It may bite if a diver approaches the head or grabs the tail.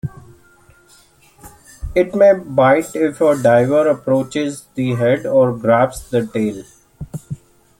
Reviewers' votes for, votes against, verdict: 2, 0, accepted